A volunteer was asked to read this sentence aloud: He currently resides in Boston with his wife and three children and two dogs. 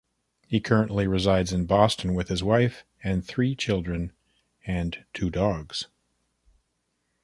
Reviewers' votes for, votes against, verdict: 2, 0, accepted